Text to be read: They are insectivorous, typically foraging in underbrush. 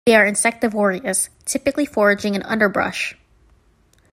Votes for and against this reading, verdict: 2, 0, accepted